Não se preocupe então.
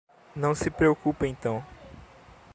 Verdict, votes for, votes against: rejected, 1, 2